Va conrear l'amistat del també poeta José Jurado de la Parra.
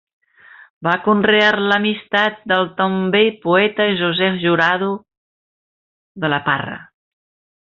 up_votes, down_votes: 2, 1